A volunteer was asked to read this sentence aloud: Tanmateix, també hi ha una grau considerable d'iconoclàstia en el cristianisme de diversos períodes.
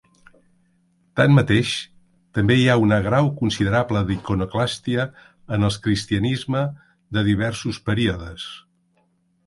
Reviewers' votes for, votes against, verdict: 2, 0, accepted